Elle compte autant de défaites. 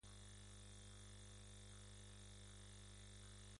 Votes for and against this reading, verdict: 0, 2, rejected